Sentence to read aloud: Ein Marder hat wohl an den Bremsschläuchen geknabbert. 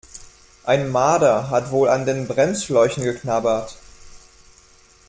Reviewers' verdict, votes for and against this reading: accepted, 2, 1